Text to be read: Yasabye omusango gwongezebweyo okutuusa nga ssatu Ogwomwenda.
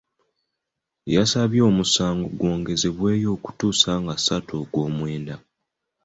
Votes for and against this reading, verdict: 2, 0, accepted